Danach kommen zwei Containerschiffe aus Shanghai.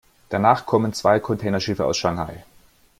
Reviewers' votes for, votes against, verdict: 2, 0, accepted